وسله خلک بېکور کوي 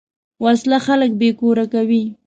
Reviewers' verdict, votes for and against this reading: accepted, 2, 0